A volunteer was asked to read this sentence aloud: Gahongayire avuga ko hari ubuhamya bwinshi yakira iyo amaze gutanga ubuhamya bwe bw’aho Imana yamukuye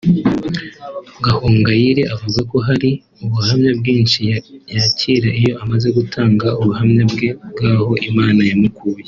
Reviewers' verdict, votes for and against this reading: rejected, 1, 2